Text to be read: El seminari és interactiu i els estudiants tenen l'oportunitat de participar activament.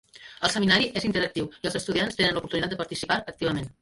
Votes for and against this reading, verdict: 2, 1, accepted